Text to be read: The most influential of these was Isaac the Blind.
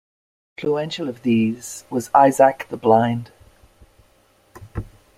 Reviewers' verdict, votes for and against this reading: rejected, 0, 2